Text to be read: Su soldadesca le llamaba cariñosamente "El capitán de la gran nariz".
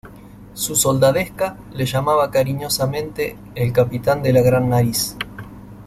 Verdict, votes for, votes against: accepted, 2, 0